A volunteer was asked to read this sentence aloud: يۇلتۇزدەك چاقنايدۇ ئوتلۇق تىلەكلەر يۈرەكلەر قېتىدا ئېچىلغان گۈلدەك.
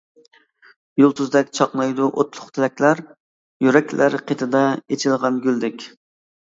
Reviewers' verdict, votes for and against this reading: accepted, 2, 0